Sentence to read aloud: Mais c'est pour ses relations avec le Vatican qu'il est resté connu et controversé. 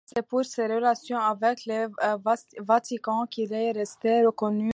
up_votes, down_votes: 0, 2